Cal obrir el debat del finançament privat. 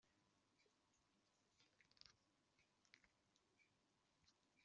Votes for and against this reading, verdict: 0, 2, rejected